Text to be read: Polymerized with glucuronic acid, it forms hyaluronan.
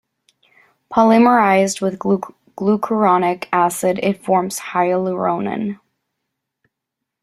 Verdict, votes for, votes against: rejected, 1, 2